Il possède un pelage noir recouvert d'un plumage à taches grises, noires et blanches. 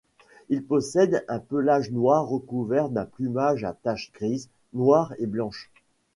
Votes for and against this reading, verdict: 2, 0, accepted